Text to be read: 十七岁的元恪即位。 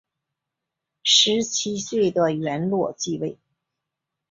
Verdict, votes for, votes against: rejected, 0, 3